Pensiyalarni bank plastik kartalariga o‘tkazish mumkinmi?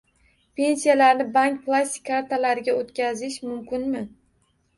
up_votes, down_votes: 1, 2